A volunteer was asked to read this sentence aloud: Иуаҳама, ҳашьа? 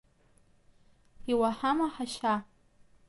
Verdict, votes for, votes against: accepted, 2, 0